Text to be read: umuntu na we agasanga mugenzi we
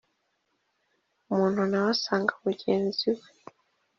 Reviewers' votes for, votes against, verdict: 2, 1, accepted